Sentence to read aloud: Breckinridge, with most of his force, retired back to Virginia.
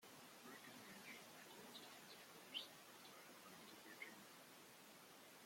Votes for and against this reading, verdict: 0, 2, rejected